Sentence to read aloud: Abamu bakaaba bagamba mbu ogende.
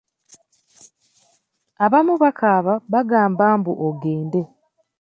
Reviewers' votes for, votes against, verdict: 2, 0, accepted